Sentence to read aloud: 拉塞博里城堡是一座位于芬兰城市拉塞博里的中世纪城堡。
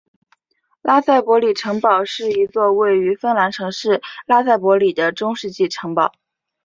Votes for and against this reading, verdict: 3, 0, accepted